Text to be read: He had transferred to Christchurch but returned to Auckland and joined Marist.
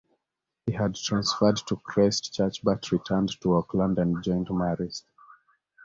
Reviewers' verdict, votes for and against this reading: accepted, 2, 0